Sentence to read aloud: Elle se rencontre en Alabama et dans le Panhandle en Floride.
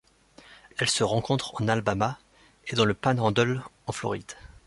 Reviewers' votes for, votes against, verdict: 0, 2, rejected